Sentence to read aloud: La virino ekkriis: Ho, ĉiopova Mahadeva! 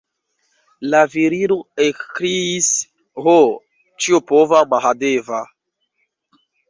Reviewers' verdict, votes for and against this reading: rejected, 1, 2